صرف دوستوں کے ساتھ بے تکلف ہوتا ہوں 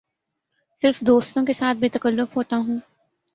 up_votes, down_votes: 2, 0